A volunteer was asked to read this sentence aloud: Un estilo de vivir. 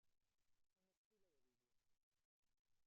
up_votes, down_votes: 0, 2